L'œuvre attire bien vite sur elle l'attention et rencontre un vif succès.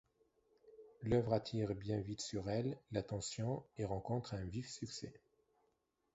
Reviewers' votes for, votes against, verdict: 2, 0, accepted